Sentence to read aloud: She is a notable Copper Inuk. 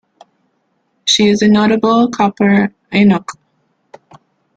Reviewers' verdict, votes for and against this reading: accepted, 2, 0